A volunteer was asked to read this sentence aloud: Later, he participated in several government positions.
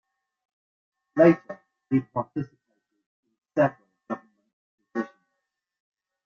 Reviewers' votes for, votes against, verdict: 0, 2, rejected